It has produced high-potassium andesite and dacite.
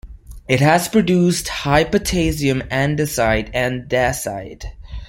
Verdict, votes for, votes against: accepted, 2, 0